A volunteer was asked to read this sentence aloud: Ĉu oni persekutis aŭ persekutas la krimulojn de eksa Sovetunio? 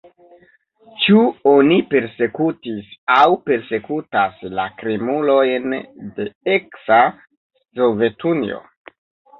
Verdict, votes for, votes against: rejected, 0, 2